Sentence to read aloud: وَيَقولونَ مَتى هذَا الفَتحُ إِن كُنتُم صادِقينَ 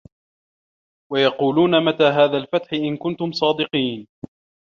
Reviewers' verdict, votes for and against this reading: rejected, 1, 2